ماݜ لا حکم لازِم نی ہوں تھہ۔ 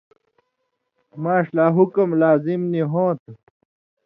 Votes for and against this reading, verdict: 2, 0, accepted